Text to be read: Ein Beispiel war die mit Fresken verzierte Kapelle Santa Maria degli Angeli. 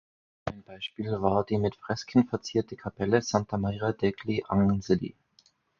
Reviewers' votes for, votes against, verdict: 0, 4, rejected